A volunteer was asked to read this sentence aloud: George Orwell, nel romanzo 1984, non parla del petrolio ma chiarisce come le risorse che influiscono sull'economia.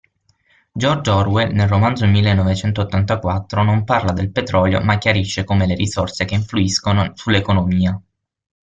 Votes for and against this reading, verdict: 0, 2, rejected